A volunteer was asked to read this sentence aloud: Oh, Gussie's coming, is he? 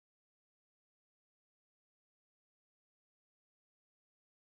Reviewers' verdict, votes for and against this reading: rejected, 0, 2